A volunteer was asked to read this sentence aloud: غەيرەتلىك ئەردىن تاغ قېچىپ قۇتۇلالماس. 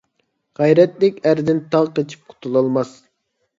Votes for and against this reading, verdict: 2, 0, accepted